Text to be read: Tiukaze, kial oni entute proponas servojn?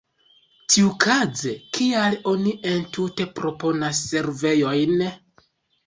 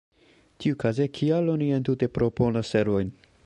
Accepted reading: second